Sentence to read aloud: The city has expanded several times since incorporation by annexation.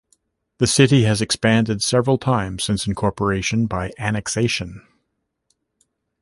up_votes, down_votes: 1, 2